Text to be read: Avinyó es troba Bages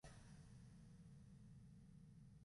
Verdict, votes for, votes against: rejected, 0, 2